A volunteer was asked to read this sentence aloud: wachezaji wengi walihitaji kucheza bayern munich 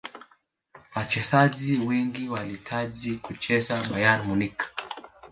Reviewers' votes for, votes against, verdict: 3, 0, accepted